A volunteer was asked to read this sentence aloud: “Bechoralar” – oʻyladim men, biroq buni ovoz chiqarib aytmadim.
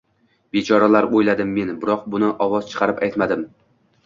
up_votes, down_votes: 2, 0